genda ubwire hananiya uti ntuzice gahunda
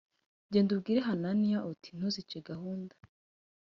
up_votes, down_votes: 2, 0